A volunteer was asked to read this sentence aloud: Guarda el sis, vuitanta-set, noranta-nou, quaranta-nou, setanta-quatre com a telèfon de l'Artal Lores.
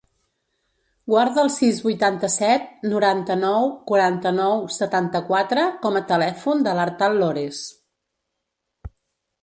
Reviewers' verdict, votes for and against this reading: rejected, 1, 2